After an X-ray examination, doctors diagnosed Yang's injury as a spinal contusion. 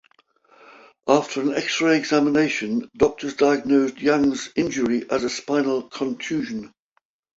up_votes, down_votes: 2, 0